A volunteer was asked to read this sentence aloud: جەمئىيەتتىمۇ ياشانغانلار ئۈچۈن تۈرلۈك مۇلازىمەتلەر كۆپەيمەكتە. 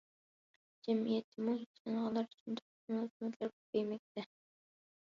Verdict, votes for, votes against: rejected, 0, 2